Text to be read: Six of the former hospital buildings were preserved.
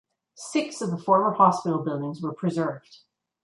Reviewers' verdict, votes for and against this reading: accepted, 2, 0